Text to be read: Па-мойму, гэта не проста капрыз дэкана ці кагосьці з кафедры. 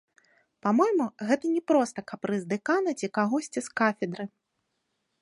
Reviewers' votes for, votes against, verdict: 1, 2, rejected